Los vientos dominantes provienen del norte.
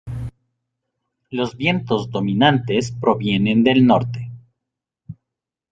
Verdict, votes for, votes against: accepted, 2, 0